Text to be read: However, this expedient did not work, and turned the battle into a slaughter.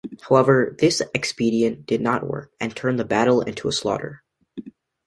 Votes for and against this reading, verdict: 2, 0, accepted